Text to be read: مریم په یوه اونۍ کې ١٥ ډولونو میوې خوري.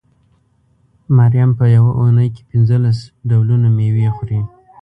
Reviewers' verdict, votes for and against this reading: rejected, 0, 2